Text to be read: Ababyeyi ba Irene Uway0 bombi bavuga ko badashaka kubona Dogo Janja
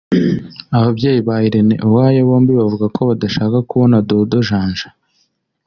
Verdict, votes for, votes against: rejected, 0, 2